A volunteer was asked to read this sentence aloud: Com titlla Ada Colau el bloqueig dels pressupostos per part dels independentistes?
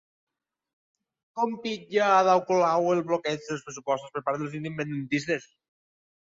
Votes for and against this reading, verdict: 2, 1, accepted